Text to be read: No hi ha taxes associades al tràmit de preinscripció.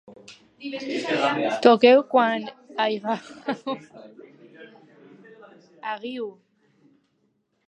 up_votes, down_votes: 1, 2